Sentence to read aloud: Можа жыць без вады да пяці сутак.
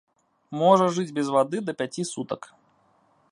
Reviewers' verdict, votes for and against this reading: accepted, 2, 0